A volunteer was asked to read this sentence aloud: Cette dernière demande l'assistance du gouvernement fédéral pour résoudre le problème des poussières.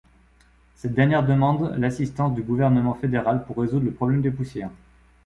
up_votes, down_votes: 2, 0